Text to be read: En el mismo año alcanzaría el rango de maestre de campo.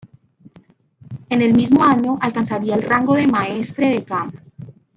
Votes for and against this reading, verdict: 0, 2, rejected